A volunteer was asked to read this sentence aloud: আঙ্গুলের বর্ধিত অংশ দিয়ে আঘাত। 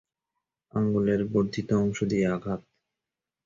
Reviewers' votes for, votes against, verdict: 2, 0, accepted